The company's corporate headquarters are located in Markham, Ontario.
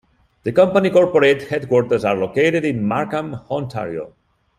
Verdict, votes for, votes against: rejected, 0, 2